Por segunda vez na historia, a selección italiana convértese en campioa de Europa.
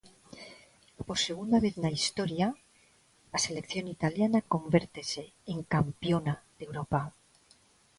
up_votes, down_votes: 0, 2